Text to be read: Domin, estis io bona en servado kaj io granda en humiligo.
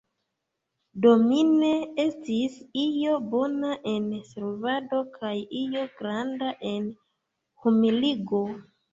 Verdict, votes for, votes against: rejected, 0, 2